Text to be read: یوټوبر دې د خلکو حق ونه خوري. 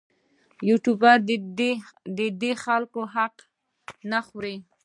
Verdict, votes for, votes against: rejected, 0, 2